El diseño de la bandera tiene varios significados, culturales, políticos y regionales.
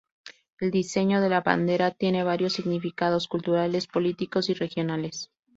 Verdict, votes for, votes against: accepted, 2, 0